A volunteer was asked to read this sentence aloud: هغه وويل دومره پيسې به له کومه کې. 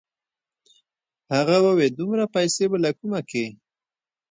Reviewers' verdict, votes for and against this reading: rejected, 0, 2